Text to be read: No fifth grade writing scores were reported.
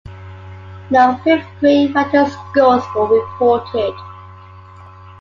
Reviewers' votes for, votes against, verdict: 2, 1, accepted